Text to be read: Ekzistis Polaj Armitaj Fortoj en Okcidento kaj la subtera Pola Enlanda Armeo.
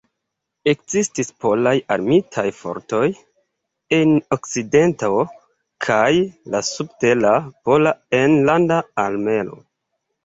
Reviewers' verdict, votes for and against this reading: accepted, 2, 0